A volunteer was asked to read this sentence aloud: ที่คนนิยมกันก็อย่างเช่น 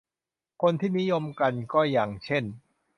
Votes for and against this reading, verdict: 0, 2, rejected